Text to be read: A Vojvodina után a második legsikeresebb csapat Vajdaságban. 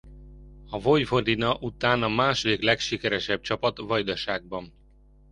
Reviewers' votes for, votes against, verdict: 1, 2, rejected